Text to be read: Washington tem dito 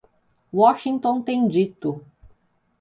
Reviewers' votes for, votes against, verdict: 2, 0, accepted